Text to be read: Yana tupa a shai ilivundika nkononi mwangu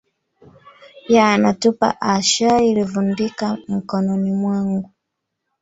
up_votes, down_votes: 2, 0